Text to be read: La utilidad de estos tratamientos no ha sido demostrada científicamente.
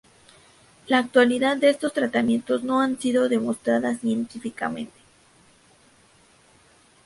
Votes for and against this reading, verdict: 0, 2, rejected